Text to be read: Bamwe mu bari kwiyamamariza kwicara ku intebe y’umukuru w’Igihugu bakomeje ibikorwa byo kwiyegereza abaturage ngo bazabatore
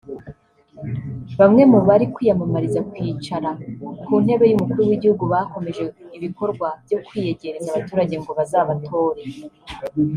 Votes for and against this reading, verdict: 0, 2, rejected